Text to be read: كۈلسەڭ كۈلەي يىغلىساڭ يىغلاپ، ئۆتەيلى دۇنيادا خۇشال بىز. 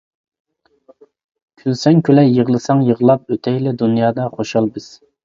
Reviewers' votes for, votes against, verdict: 2, 0, accepted